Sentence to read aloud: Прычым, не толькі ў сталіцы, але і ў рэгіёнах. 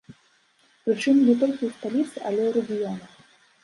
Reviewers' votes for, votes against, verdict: 1, 2, rejected